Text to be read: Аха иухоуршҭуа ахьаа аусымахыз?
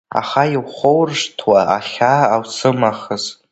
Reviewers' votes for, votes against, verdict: 2, 0, accepted